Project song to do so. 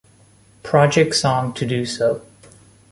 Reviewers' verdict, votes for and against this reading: accepted, 3, 0